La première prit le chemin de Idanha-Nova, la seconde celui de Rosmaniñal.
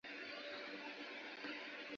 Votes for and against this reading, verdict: 1, 2, rejected